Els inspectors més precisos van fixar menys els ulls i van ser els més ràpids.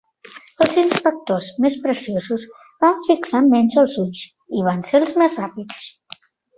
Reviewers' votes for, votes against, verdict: 1, 2, rejected